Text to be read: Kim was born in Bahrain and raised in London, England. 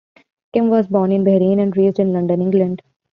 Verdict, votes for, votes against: accepted, 2, 0